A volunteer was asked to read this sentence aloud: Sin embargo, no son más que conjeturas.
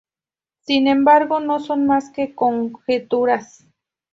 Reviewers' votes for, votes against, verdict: 2, 0, accepted